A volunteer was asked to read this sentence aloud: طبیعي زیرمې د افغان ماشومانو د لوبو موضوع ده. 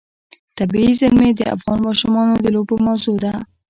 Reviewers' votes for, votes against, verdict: 2, 0, accepted